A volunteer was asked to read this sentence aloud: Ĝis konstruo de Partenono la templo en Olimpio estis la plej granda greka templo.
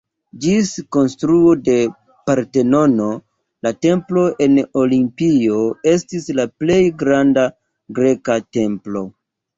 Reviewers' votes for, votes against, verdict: 2, 0, accepted